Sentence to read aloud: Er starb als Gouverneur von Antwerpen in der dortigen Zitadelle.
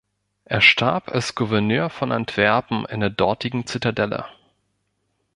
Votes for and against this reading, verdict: 2, 0, accepted